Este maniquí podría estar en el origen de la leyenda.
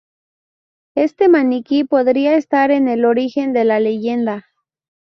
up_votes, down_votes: 2, 0